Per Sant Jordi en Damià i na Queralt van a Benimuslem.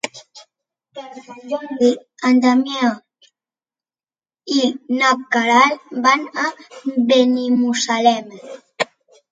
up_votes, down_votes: 1, 2